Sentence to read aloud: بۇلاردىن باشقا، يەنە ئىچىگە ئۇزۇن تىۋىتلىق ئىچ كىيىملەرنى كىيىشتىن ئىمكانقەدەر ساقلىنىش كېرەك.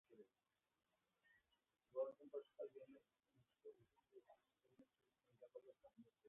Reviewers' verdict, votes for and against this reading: rejected, 0, 2